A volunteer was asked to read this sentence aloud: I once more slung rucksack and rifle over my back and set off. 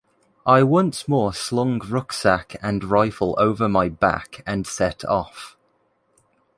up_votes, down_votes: 3, 0